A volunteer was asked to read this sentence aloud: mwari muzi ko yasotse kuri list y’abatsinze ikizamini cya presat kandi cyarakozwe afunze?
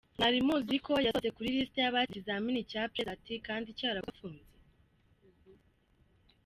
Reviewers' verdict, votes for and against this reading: rejected, 0, 2